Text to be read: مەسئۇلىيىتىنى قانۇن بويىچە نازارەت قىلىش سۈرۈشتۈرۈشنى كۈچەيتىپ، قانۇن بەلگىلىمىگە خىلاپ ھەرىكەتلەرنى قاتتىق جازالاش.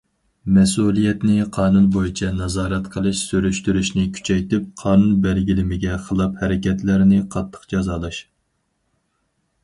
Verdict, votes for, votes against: rejected, 0, 4